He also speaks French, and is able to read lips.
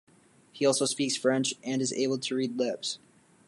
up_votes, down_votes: 2, 0